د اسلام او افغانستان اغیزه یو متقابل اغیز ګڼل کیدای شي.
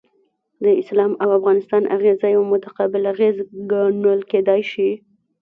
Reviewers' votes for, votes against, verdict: 1, 2, rejected